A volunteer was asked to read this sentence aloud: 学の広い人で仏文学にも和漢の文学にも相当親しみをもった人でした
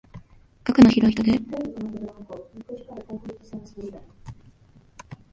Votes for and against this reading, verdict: 0, 2, rejected